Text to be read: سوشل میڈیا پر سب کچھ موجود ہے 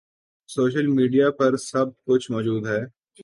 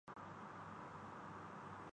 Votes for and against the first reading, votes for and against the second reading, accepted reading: 3, 0, 0, 2, first